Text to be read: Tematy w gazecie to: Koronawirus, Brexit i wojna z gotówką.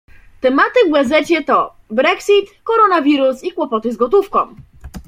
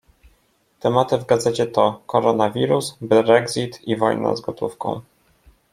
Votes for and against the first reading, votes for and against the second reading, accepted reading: 0, 2, 2, 1, second